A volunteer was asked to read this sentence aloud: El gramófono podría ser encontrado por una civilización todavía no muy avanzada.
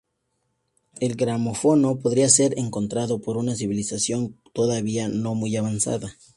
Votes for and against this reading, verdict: 2, 0, accepted